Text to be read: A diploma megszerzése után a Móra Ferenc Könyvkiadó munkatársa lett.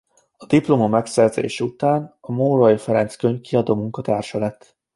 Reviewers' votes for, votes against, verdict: 0, 2, rejected